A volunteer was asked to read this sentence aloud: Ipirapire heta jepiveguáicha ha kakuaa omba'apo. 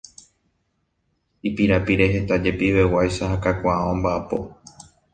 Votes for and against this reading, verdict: 2, 1, accepted